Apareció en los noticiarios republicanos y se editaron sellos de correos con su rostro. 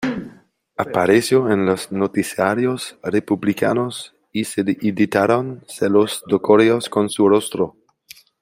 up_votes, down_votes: 0, 2